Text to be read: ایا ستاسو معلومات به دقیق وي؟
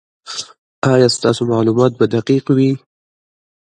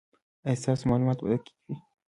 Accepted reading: first